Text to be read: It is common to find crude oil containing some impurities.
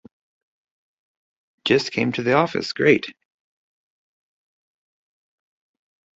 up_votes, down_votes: 0, 2